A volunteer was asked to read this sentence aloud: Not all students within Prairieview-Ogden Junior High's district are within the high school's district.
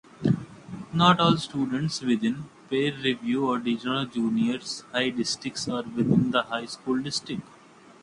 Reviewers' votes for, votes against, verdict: 0, 2, rejected